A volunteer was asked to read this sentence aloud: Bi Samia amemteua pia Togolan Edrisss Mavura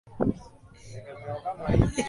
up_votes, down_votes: 1, 5